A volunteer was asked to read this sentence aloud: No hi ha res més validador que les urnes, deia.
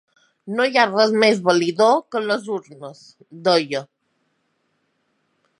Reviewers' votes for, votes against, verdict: 0, 2, rejected